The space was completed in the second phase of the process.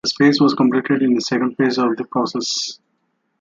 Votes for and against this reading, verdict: 2, 0, accepted